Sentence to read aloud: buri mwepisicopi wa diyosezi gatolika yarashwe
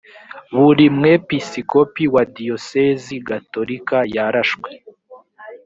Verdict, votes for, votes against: accepted, 2, 0